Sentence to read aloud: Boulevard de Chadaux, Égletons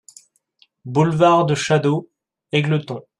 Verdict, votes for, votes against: accepted, 2, 0